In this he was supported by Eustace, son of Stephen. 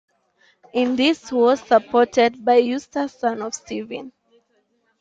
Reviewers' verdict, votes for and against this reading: accepted, 2, 1